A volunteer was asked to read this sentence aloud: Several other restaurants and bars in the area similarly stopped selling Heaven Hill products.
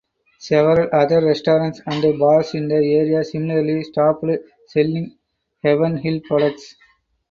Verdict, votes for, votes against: accepted, 4, 2